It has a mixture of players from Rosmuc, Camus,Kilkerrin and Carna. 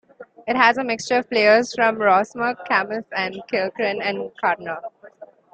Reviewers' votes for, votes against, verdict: 3, 1, accepted